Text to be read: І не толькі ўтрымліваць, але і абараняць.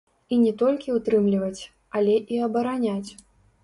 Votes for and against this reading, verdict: 0, 2, rejected